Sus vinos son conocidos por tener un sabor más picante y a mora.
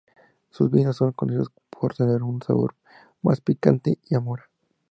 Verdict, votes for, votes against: accepted, 2, 0